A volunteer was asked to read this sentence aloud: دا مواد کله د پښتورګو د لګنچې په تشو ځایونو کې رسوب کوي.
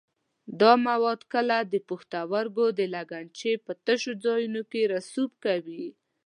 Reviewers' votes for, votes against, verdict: 2, 0, accepted